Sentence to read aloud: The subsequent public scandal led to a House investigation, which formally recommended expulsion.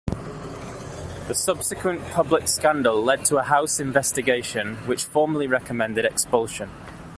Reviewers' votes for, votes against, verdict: 2, 0, accepted